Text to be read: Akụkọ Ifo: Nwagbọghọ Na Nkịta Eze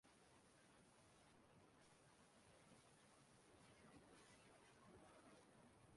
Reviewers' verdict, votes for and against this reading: rejected, 0, 2